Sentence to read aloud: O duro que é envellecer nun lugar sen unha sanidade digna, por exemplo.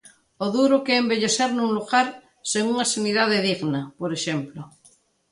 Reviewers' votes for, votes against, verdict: 2, 0, accepted